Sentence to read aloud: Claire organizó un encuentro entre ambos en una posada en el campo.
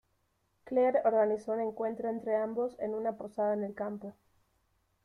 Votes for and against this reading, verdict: 2, 0, accepted